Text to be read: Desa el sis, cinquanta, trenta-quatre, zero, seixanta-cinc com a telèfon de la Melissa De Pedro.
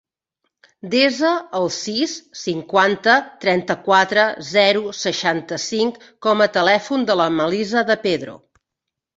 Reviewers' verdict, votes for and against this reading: accepted, 3, 0